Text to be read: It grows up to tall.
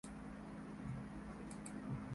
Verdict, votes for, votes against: rejected, 0, 2